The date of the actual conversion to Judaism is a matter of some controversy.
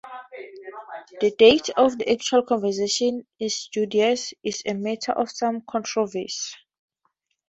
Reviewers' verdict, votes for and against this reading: rejected, 0, 4